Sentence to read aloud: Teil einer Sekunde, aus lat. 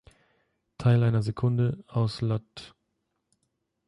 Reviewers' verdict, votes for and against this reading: accepted, 3, 0